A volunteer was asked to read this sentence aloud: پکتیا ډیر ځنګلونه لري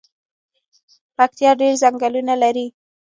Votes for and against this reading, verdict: 1, 2, rejected